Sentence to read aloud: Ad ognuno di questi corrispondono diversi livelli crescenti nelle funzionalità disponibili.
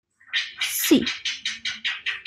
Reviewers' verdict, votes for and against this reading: rejected, 0, 2